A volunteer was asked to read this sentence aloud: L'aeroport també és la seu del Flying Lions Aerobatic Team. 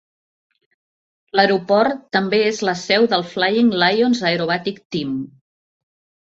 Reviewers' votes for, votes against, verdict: 5, 0, accepted